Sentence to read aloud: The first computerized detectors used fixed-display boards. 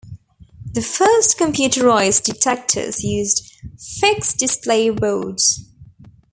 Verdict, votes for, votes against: rejected, 0, 2